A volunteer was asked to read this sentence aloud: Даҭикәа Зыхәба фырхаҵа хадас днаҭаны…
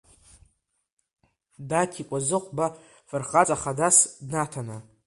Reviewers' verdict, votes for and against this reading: accepted, 2, 0